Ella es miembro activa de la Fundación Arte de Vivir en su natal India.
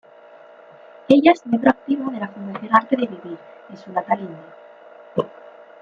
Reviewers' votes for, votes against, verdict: 0, 2, rejected